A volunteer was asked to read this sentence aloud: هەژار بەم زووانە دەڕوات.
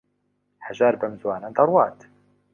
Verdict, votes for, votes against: accepted, 2, 0